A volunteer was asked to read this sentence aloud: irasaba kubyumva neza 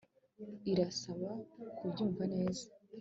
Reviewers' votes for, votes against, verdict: 2, 0, accepted